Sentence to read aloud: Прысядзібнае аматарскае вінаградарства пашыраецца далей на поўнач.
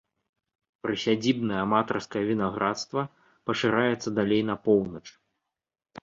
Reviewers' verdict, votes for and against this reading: rejected, 0, 2